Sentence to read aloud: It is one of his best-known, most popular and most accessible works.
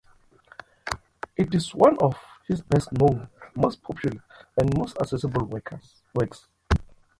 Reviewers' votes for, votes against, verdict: 0, 2, rejected